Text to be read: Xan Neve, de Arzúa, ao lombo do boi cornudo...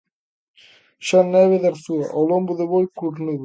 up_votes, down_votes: 2, 0